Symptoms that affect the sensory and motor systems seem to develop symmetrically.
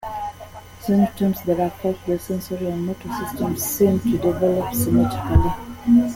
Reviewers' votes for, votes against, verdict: 2, 0, accepted